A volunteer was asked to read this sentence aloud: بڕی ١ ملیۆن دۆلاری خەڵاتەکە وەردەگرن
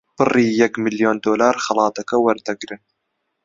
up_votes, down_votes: 0, 2